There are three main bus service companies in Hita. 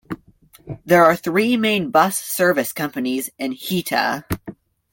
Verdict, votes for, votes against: accepted, 2, 0